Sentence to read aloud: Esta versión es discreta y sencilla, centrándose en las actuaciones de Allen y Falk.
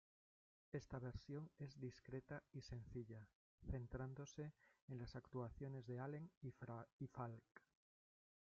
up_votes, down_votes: 1, 2